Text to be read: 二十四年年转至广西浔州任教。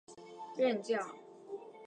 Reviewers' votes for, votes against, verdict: 1, 2, rejected